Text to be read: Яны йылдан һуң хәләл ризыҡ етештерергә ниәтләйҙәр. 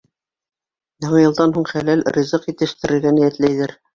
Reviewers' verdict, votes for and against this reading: accepted, 2, 0